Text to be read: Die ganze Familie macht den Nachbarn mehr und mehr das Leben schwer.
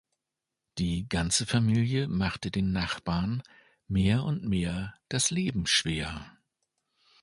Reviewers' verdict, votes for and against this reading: rejected, 0, 2